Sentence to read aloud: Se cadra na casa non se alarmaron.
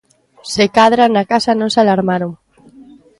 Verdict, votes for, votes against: accepted, 2, 0